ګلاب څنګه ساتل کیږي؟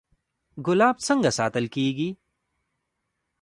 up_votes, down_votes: 0, 2